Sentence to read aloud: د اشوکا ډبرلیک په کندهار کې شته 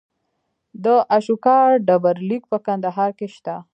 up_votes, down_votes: 2, 1